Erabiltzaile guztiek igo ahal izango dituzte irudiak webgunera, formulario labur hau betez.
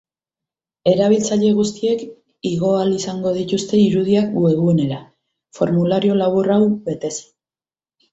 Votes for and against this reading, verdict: 4, 0, accepted